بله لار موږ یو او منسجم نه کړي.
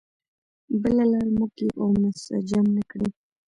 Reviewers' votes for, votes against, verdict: 0, 2, rejected